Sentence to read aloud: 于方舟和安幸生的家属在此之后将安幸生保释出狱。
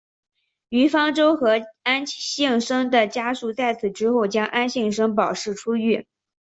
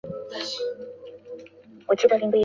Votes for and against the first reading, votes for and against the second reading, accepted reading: 3, 2, 2, 9, first